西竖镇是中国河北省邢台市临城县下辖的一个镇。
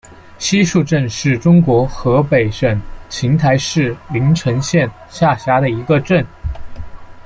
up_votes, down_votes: 2, 0